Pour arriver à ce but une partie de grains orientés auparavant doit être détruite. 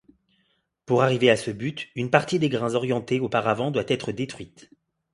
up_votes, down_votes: 0, 2